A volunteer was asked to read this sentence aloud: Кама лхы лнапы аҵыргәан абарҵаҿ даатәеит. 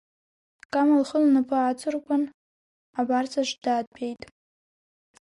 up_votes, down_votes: 2, 0